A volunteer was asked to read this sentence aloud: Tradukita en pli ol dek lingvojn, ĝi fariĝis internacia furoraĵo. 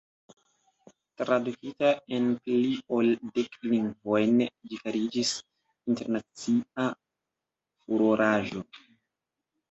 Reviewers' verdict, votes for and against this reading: rejected, 0, 2